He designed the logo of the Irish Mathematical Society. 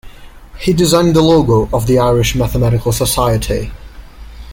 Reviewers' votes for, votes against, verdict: 2, 1, accepted